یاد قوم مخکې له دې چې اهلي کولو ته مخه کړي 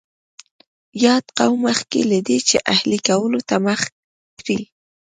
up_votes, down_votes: 2, 0